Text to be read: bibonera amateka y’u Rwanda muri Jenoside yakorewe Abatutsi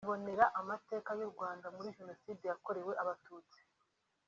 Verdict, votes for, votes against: accepted, 2, 0